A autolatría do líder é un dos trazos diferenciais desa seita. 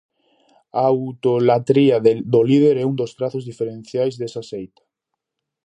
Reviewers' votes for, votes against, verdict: 0, 2, rejected